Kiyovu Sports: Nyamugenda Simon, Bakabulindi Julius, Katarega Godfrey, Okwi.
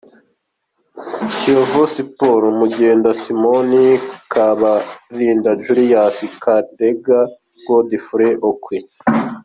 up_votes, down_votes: 2, 1